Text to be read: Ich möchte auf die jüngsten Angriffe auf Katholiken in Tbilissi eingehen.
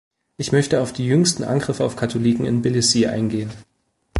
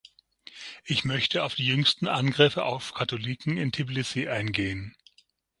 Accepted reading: first